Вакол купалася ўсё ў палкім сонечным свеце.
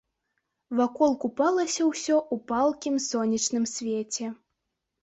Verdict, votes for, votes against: accepted, 2, 1